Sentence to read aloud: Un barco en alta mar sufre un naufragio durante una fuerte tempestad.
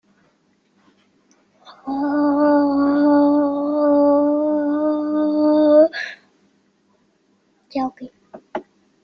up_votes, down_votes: 0, 2